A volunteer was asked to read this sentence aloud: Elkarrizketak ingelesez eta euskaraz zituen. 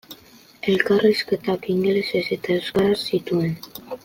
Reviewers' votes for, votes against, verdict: 2, 0, accepted